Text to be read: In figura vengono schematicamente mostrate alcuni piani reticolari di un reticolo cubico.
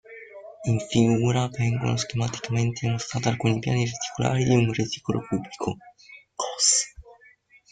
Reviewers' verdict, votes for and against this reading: rejected, 0, 2